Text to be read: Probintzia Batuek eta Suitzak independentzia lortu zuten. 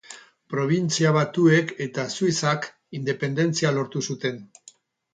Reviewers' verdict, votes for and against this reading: accepted, 6, 2